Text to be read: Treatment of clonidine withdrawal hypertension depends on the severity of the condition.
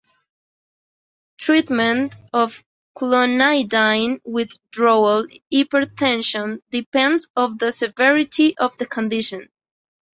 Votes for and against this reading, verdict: 2, 1, accepted